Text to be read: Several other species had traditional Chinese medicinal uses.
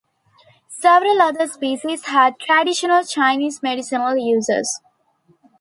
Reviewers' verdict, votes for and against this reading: accepted, 2, 1